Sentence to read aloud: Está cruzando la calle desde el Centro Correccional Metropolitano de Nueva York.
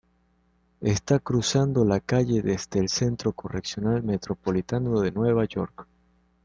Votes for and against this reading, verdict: 2, 0, accepted